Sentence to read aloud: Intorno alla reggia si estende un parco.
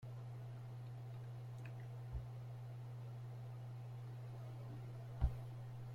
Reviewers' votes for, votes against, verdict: 0, 3, rejected